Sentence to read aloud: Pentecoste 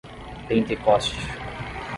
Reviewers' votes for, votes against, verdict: 10, 0, accepted